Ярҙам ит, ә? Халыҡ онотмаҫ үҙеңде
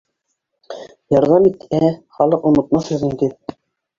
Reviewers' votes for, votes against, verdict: 1, 2, rejected